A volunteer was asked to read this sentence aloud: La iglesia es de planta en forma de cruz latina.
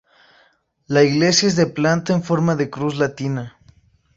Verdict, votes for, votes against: accepted, 2, 0